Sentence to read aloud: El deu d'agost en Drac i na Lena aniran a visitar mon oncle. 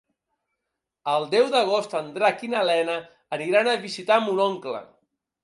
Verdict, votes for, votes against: accepted, 2, 0